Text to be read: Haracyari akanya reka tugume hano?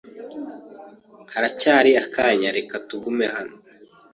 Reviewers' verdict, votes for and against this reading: accepted, 2, 0